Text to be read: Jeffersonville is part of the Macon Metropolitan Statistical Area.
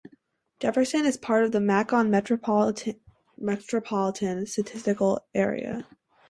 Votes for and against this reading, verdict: 2, 2, rejected